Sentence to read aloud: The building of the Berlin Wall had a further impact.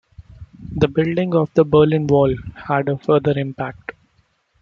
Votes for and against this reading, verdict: 2, 0, accepted